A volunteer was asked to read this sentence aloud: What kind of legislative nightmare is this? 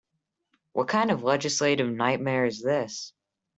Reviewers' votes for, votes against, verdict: 3, 0, accepted